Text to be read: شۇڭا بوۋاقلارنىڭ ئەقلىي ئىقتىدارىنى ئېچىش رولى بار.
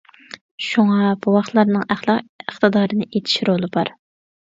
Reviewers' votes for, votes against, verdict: 0, 2, rejected